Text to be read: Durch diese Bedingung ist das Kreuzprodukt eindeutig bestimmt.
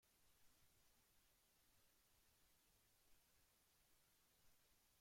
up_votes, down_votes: 0, 2